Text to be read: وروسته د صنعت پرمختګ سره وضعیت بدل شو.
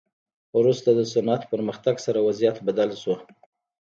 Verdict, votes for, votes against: rejected, 0, 2